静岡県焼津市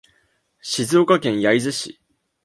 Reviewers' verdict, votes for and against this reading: accepted, 2, 0